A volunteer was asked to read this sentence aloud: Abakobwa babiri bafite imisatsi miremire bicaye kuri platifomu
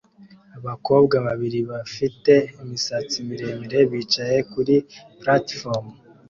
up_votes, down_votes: 2, 0